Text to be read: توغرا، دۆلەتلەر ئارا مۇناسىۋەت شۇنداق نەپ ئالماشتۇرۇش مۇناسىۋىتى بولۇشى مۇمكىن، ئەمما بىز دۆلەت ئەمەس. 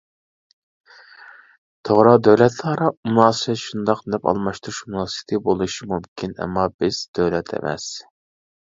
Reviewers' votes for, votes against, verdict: 1, 2, rejected